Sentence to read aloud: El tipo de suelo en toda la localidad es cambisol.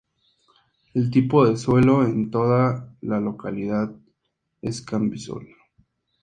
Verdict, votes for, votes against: rejected, 2, 2